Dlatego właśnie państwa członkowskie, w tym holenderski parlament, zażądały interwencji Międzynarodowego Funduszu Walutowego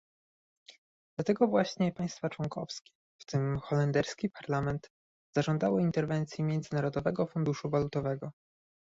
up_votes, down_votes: 2, 0